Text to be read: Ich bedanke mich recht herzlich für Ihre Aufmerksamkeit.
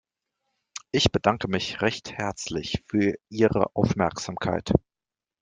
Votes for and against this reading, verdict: 2, 0, accepted